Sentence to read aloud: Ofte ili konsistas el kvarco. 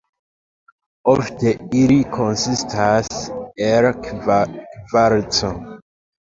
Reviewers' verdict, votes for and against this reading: accepted, 2, 1